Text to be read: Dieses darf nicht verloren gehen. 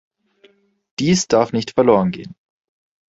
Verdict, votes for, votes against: rejected, 1, 2